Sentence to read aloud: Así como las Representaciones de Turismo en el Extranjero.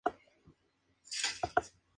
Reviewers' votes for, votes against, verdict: 0, 2, rejected